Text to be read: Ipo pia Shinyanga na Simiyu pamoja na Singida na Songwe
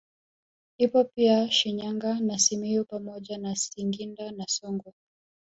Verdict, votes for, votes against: accepted, 2, 0